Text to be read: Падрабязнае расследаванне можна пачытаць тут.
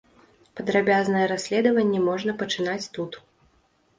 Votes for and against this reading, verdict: 0, 2, rejected